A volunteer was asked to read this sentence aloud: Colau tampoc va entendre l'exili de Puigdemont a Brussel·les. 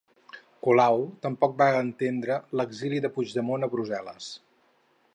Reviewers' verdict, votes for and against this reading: rejected, 0, 2